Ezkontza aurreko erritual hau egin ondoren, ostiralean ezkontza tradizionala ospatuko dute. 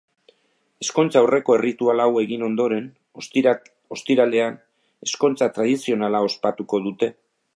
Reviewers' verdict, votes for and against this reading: rejected, 0, 2